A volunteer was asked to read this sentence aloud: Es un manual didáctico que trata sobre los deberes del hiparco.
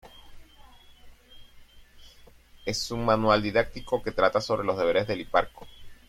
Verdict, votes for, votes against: accepted, 2, 1